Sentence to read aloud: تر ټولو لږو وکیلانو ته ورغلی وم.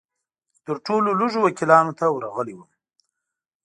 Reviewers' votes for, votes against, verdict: 2, 0, accepted